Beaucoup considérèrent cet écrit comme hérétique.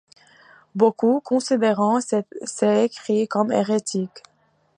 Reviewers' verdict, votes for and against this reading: rejected, 1, 2